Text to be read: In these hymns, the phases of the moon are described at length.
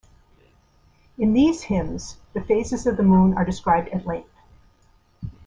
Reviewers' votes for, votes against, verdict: 2, 3, rejected